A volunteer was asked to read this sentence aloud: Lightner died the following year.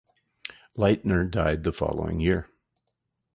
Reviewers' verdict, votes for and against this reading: accepted, 4, 0